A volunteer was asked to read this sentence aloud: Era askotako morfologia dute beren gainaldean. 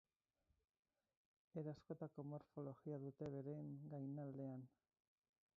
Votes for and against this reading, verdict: 0, 4, rejected